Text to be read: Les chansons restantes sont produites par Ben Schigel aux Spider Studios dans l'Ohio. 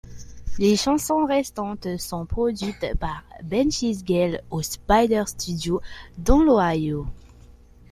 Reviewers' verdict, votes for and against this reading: accepted, 2, 0